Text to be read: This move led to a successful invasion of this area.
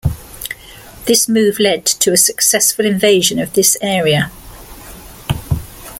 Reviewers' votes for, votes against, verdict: 2, 0, accepted